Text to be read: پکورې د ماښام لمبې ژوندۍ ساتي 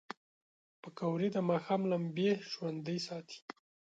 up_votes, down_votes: 6, 1